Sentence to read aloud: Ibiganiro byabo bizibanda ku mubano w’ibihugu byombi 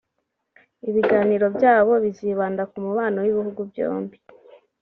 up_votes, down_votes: 3, 1